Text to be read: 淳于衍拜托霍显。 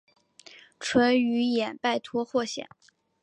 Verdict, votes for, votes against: accepted, 2, 1